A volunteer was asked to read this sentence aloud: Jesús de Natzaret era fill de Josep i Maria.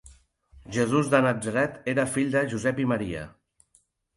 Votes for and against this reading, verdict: 2, 0, accepted